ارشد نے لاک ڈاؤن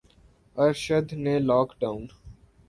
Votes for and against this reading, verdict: 2, 0, accepted